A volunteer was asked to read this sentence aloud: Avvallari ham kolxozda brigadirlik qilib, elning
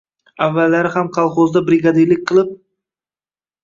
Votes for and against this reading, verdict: 1, 2, rejected